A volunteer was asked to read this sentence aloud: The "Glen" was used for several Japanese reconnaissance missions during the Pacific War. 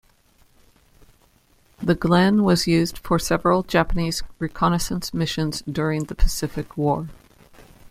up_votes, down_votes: 2, 0